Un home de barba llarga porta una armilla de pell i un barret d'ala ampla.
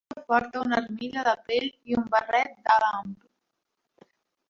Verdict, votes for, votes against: rejected, 0, 2